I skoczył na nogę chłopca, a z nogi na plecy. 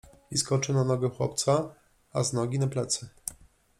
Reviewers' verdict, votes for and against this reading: accepted, 2, 0